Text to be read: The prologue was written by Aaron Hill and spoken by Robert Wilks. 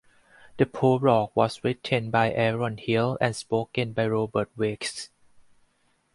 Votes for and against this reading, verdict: 0, 4, rejected